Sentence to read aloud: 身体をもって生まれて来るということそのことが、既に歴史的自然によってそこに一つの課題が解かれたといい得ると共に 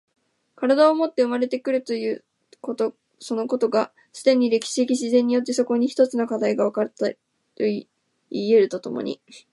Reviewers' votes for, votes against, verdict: 1, 2, rejected